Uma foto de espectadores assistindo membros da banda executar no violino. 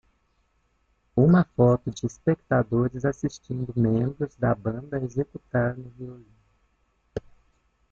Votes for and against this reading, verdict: 1, 2, rejected